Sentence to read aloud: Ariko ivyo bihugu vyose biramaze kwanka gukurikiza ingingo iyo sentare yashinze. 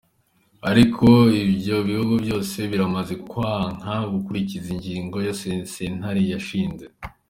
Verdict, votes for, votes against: accepted, 4, 3